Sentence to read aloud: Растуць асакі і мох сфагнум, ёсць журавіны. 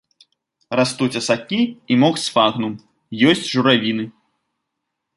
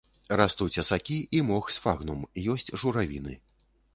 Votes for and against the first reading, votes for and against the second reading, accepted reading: 4, 0, 0, 2, first